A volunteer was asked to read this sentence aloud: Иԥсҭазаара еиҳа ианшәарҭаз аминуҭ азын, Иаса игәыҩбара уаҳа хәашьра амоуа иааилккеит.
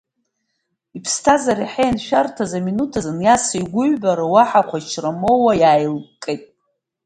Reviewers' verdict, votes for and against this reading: rejected, 2, 3